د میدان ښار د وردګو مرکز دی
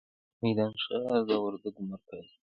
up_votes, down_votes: 1, 2